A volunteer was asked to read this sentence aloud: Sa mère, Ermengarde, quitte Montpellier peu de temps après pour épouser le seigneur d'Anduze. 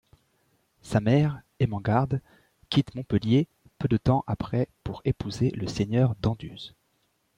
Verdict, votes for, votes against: rejected, 1, 3